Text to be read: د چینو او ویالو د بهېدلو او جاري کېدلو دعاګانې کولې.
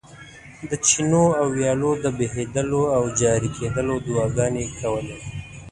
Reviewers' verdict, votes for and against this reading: accepted, 2, 0